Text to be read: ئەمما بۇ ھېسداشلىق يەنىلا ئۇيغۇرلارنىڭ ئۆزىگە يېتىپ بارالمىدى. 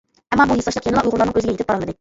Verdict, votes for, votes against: rejected, 0, 2